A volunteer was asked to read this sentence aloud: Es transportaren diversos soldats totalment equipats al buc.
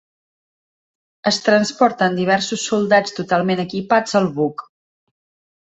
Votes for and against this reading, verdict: 1, 2, rejected